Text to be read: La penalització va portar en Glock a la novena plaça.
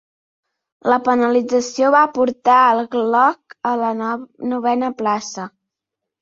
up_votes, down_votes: 0, 2